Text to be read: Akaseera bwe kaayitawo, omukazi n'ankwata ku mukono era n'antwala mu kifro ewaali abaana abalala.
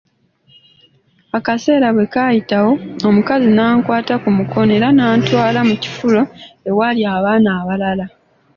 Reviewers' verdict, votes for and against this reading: accepted, 2, 0